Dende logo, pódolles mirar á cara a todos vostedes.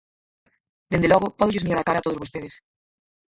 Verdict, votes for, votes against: rejected, 0, 4